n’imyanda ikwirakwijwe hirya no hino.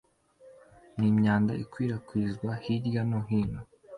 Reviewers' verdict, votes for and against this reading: accepted, 2, 0